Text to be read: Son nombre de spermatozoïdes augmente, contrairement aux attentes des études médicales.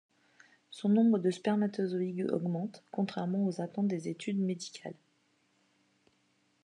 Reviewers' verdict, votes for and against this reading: accepted, 2, 0